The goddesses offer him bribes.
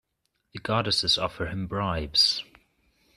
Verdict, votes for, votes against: accepted, 2, 0